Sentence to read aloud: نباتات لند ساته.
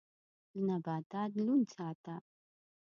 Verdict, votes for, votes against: rejected, 1, 2